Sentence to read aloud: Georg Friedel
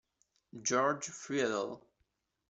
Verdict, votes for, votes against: rejected, 0, 2